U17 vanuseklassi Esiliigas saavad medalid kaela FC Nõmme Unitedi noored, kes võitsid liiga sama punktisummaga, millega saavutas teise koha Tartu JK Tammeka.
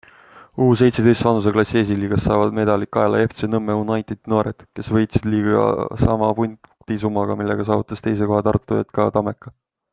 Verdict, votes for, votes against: rejected, 0, 2